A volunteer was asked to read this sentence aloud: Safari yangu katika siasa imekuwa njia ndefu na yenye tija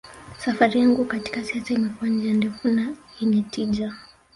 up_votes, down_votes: 2, 1